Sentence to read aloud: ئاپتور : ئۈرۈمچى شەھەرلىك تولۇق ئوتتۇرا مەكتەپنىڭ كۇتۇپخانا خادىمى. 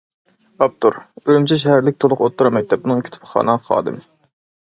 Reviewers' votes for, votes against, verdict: 2, 0, accepted